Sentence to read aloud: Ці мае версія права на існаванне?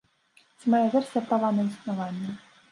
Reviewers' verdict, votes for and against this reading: rejected, 1, 2